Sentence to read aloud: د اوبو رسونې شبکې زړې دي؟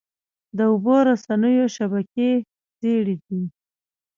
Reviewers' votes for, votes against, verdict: 0, 2, rejected